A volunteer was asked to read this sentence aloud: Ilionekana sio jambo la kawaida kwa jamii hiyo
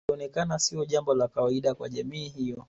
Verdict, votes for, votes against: accepted, 2, 1